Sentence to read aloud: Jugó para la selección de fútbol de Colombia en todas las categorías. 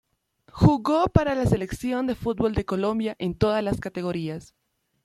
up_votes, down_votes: 2, 0